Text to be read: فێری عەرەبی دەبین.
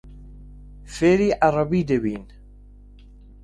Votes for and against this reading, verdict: 2, 0, accepted